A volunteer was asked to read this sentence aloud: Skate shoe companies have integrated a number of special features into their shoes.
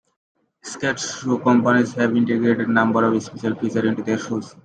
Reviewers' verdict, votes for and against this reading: accepted, 2, 1